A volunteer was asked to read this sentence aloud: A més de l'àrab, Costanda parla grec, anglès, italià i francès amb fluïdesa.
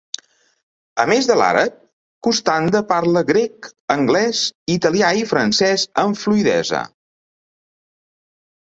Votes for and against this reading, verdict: 2, 0, accepted